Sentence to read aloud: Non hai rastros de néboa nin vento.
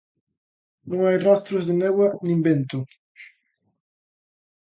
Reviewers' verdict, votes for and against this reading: accepted, 2, 0